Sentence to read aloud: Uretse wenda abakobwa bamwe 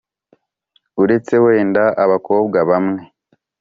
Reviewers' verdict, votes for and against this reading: accepted, 4, 0